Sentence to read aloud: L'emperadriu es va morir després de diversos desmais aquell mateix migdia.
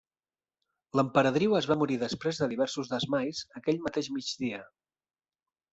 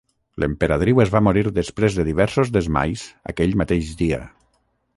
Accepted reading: first